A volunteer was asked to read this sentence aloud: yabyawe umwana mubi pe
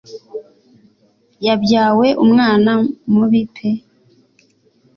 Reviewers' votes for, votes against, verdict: 2, 0, accepted